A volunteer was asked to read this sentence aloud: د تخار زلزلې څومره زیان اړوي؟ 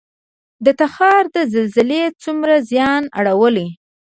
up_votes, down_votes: 1, 2